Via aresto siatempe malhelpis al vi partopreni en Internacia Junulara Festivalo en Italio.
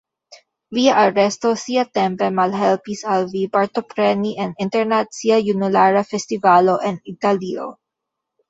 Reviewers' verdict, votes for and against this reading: rejected, 0, 2